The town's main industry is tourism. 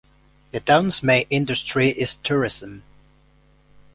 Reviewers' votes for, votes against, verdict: 1, 2, rejected